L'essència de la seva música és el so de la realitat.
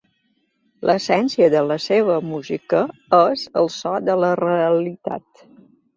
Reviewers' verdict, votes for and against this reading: accepted, 2, 0